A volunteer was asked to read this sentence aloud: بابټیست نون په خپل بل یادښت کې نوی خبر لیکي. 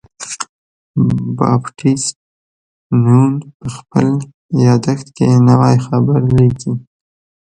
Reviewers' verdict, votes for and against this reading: rejected, 0, 2